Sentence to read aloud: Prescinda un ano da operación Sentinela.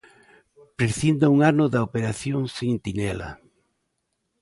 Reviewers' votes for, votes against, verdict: 1, 2, rejected